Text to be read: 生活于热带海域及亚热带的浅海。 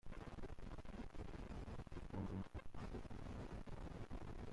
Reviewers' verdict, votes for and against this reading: rejected, 0, 2